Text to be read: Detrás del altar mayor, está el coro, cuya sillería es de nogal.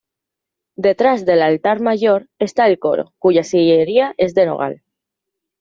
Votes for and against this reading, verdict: 2, 0, accepted